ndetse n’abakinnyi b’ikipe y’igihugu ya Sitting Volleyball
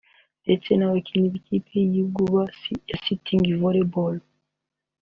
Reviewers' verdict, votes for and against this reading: accepted, 3, 0